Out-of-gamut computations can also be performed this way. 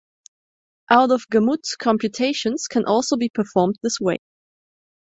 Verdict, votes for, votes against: accepted, 2, 0